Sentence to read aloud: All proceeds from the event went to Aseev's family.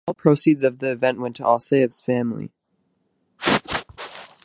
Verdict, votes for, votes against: rejected, 0, 2